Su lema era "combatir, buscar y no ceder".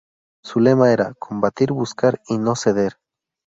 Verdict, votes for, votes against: accepted, 2, 0